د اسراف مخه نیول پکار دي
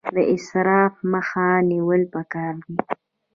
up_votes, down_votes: 1, 2